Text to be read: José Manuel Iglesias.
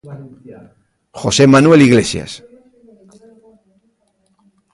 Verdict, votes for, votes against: rejected, 1, 2